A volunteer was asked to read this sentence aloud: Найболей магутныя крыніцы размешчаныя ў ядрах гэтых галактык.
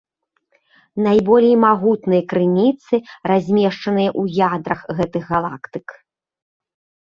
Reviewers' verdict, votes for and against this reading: accepted, 2, 0